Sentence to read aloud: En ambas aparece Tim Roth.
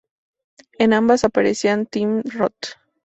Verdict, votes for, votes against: rejected, 0, 2